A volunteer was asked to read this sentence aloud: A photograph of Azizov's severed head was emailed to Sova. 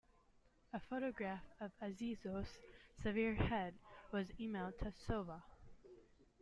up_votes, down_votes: 1, 2